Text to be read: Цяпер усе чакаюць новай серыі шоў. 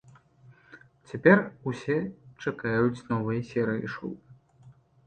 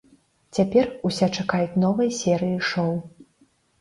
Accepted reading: first